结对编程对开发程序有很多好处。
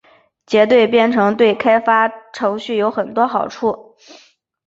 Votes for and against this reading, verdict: 2, 0, accepted